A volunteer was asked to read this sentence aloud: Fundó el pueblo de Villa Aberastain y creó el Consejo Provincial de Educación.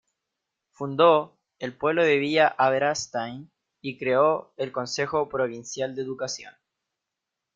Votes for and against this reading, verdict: 1, 2, rejected